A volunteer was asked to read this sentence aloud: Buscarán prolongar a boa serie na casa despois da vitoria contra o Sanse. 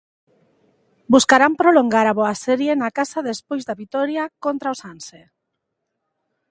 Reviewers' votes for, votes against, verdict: 2, 0, accepted